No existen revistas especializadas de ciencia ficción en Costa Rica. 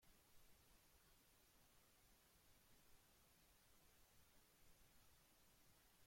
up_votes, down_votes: 0, 2